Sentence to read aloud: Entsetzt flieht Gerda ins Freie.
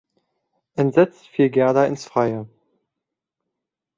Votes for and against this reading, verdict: 2, 0, accepted